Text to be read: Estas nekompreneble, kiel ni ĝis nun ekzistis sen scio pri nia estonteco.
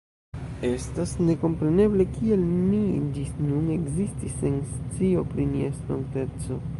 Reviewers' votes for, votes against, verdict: 1, 2, rejected